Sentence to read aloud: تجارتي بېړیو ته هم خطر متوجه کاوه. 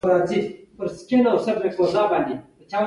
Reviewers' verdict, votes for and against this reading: rejected, 1, 2